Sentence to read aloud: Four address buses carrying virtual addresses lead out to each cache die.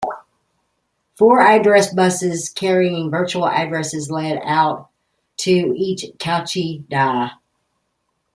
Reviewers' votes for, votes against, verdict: 0, 2, rejected